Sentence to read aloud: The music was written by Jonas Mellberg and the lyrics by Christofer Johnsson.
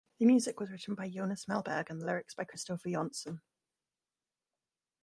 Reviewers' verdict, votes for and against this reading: rejected, 0, 2